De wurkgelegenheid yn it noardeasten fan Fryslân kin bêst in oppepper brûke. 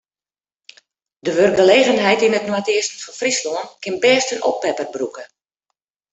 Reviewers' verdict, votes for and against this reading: accepted, 2, 0